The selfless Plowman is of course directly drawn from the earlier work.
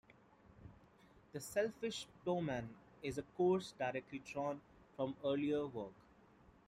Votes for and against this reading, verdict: 0, 2, rejected